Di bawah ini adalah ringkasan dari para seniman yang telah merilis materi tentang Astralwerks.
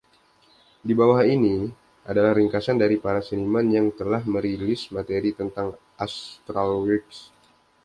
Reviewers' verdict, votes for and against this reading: accepted, 2, 0